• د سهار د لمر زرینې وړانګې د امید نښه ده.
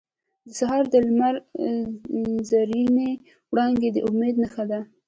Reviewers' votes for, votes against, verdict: 1, 2, rejected